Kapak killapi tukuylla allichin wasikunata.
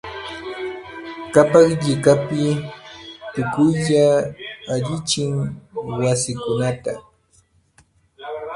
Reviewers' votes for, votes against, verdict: 1, 2, rejected